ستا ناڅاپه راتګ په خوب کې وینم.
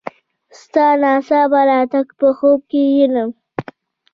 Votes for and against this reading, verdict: 2, 1, accepted